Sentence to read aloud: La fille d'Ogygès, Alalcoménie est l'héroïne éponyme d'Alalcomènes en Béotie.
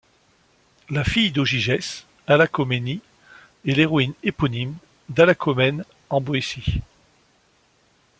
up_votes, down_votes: 2, 0